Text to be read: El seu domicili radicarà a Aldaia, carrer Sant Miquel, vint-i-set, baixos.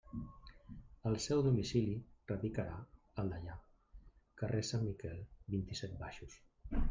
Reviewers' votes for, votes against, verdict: 0, 2, rejected